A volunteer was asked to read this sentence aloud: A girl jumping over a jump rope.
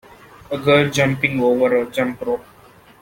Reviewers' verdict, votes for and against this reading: accepted, 2, 0